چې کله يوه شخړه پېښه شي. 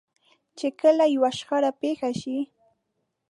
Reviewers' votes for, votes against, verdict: 4, 0, accepted